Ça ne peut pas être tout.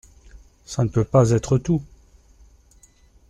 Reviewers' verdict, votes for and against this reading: accepted, 2, 0